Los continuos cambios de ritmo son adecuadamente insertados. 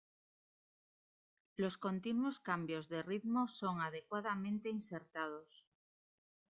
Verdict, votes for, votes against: rejected, 1, 2